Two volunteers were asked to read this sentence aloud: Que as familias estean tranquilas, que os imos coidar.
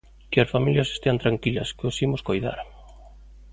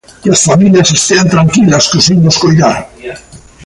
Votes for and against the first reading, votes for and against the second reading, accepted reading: 2, 0, 1, 2, first